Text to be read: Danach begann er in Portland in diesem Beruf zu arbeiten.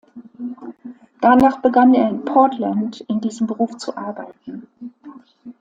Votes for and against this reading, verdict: 2, 0, accepted